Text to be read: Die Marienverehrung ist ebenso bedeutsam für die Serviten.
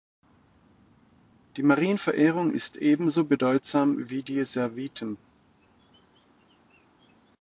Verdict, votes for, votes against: rejected, 0, 2